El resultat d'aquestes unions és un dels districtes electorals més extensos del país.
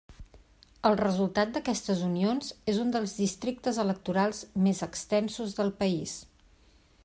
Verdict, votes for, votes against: accepted, 3, 0